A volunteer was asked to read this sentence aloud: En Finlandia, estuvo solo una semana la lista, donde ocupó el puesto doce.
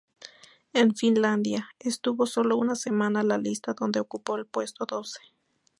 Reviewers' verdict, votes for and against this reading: accepted, 2, 0